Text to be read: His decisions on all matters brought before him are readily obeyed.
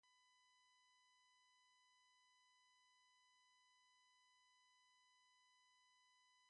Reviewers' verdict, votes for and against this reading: rejected, 0, 2